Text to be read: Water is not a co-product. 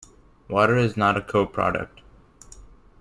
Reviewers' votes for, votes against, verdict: 2, 0, accepted